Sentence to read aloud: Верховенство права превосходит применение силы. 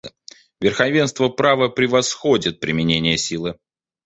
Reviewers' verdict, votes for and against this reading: accepted, 2, 1